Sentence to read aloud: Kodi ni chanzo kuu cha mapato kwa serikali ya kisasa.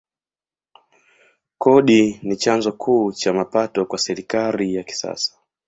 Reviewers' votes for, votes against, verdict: 4, 1, accepted